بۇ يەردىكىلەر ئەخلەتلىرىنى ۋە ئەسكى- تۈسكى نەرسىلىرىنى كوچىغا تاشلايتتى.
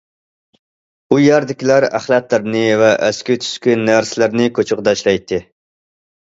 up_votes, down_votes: 1, 2